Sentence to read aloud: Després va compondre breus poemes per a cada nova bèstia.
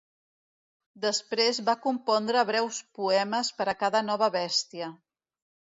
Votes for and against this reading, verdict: 2, 0, accepted